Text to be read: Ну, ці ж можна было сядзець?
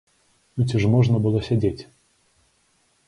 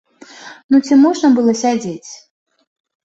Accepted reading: first